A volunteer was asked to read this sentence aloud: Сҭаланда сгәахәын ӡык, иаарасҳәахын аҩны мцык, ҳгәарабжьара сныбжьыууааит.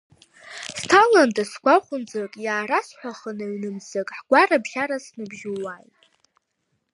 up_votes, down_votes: 0, 2